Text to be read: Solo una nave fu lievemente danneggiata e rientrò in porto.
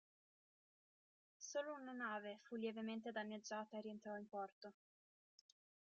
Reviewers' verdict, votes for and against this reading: rejected, 1, 2